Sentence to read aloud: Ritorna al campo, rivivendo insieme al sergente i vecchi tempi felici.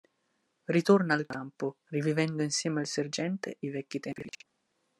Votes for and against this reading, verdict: 1, 2, rejected